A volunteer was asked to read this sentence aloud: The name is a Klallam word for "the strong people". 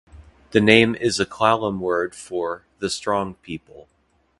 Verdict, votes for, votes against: rejected, 1, 2